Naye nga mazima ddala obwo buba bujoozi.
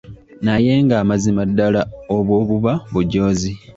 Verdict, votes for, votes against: accepted, 3, 0